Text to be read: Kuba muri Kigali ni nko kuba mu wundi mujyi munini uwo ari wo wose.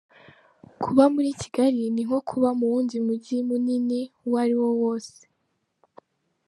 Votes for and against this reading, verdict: 2, 0, accepted